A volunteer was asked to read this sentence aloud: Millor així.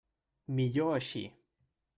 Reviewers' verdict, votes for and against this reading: rejected, 1, 2